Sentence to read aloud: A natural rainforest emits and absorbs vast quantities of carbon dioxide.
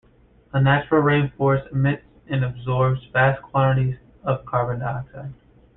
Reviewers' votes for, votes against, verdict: 2, 1, accepted